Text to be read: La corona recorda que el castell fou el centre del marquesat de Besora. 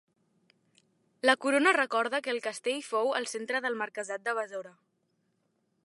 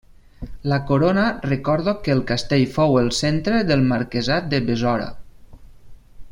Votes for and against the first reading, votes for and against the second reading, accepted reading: 4, 0, 0, 2, first